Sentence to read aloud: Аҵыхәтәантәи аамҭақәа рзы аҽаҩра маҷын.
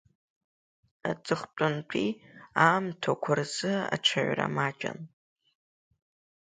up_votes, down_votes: 2, 0